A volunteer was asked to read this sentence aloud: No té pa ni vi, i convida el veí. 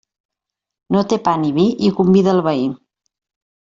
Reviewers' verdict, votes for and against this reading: accepted, 2, 0